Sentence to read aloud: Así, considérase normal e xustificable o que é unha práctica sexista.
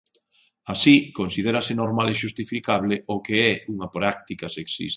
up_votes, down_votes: 1, 2